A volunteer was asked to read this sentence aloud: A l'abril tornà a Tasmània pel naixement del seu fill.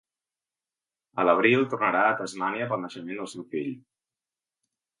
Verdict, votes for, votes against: rejected, 1, 2